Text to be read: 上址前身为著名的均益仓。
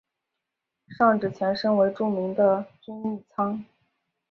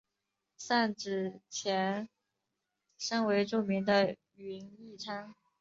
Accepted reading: first